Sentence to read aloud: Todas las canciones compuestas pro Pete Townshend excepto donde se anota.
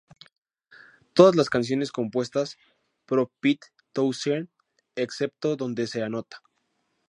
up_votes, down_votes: 2, 0